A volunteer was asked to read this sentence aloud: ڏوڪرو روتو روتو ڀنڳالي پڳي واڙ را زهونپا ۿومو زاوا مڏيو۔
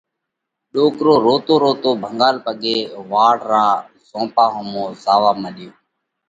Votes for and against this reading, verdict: 2, 0, accepted